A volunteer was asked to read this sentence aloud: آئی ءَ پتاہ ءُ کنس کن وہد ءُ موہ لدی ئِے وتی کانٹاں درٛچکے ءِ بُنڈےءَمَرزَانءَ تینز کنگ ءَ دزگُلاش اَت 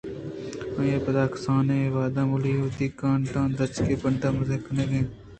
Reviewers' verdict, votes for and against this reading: accepted, 2, 0